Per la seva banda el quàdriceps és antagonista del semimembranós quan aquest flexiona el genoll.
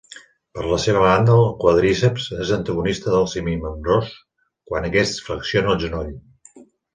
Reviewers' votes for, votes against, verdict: 2, 0, accepted